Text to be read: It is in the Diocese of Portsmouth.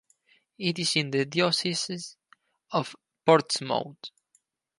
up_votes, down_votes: 2, 4